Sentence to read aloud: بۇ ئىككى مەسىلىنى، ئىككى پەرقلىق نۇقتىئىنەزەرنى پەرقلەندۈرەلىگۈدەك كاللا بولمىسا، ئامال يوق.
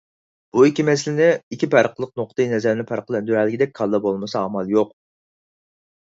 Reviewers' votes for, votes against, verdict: 4, 0, accepted